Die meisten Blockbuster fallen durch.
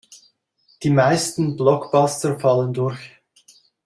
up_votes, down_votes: 2, 0